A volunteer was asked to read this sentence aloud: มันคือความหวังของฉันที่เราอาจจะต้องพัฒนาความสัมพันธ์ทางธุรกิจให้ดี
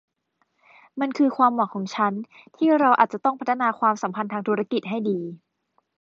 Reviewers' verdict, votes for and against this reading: rejected, 1, 2